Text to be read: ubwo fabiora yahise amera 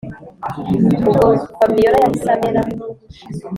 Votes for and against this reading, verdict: 2, 0, accepted